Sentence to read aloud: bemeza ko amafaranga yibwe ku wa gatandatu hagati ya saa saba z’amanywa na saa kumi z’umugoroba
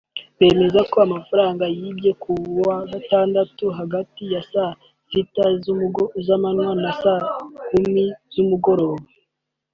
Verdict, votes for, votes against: rejected, 0, 2